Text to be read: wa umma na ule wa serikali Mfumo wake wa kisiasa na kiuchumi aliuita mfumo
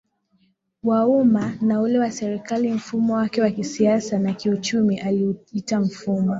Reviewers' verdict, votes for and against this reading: accepted, 2, 0